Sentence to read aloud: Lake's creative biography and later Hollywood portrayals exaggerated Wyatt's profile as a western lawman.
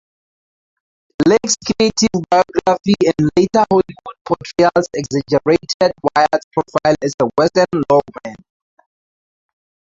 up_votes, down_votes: 2, 2